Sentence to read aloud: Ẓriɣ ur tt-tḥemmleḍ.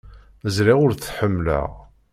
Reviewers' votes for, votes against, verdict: 0, 2, rejected